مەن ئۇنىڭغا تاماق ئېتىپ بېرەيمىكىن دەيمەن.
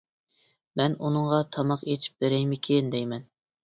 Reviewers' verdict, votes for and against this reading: accepted, 2, 0